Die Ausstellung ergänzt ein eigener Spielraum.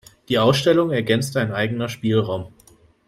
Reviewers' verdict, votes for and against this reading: accepted, 2, 0